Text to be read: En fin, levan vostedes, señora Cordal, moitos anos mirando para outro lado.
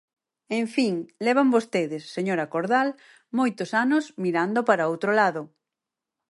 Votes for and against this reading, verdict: 4, 0, accepted